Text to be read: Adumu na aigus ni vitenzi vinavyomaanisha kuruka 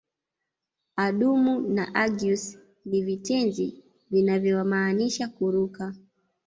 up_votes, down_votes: 1, 2